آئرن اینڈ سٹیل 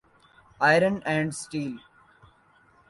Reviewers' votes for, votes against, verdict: 2, 0, accepted